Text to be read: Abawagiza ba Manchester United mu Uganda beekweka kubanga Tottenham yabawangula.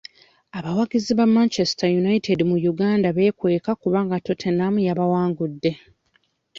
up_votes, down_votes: 0, 2